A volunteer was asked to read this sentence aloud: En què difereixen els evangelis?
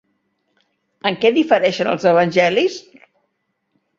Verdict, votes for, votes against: accepted, 2, 0